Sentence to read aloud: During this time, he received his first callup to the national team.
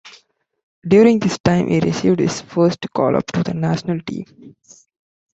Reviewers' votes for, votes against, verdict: 2, 0, accepted